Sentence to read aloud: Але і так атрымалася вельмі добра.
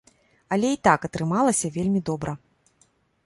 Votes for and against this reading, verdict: 2, 0, accepted